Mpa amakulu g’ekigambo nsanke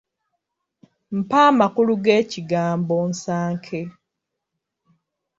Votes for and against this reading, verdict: 2, 1, accepted